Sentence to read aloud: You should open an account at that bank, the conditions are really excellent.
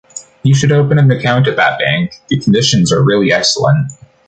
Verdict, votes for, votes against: rejected, 0, 2